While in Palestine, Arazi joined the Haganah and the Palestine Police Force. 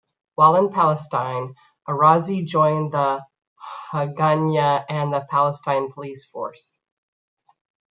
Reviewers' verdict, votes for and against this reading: rejected, 0, 2